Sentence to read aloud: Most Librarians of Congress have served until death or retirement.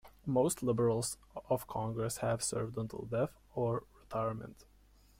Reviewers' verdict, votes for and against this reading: rejected, 1, 2